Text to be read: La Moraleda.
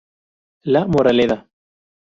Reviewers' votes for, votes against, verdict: 0, 2, rejected